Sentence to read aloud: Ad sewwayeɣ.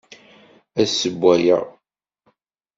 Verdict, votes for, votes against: accepted, 2, 0